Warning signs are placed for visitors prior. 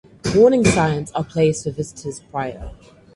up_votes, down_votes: 4, 0